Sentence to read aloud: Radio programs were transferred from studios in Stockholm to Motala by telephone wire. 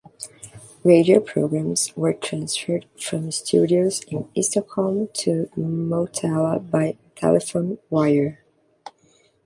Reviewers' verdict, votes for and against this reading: rejected, 1, 2